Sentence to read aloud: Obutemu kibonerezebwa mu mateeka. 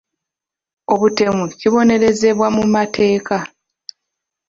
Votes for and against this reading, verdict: 2, 0, accepted